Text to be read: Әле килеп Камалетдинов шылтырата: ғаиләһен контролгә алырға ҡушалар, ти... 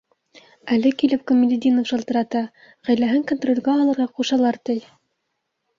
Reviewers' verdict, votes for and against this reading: accepted, 2, 0